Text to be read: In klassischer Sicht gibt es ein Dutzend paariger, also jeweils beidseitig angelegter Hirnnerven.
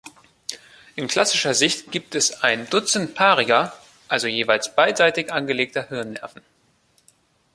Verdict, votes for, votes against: accepted, 2, 0